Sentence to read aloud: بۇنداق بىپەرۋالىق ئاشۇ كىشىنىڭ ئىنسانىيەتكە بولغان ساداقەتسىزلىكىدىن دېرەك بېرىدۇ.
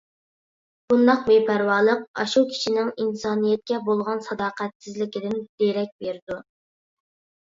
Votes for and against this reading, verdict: 2, 0, accepted